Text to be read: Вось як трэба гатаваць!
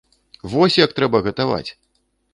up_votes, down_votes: 2, 0